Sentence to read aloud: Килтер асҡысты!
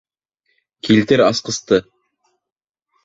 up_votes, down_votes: 2, 0